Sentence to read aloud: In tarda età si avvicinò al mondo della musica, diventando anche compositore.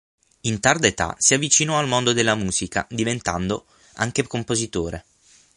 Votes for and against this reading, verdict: 6, 0, accepted